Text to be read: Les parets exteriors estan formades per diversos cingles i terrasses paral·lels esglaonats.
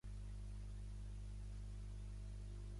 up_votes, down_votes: 0, 2